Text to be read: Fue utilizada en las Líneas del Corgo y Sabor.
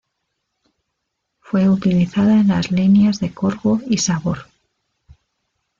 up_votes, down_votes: 0, 2